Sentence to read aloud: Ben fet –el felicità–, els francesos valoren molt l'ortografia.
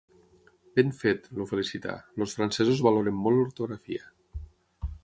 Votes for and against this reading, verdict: 0, 6, rejected